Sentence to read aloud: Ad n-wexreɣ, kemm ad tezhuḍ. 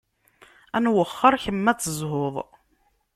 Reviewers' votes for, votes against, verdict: 0, 2, rejected